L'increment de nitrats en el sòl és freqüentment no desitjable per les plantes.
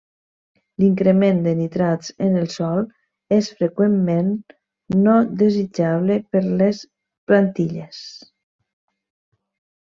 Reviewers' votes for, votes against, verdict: 0, 2, rejected